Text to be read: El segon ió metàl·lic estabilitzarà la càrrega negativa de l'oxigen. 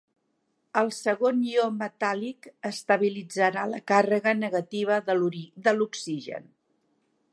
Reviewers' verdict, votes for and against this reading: rejected, 1, 2